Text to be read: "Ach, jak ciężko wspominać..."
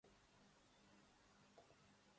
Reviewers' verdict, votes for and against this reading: rejected, 0, 2